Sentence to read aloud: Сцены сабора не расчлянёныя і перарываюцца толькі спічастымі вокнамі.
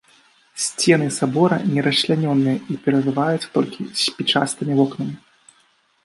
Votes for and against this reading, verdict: 2, 1, accepted